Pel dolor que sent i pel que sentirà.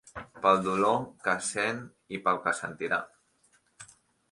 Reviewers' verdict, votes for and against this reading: accepted, 4, 0